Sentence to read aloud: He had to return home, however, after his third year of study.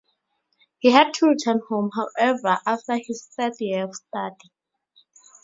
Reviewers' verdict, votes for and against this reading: rejected, 0, 2